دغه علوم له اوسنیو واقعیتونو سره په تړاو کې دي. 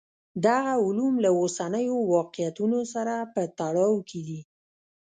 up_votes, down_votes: 0, 2